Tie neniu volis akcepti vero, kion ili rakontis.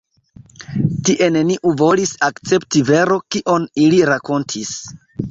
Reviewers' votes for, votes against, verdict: 2, 0, accepted